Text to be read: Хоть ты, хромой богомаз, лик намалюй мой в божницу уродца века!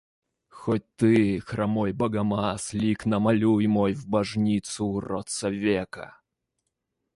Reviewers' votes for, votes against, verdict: 2, 0, accepted